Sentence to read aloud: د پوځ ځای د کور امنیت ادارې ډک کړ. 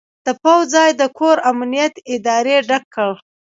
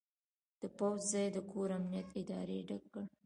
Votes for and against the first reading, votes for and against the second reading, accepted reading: 0, 2, 2, 0, second